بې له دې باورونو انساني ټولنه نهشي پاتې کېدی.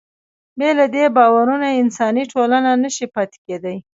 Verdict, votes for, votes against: accepted, 2, 0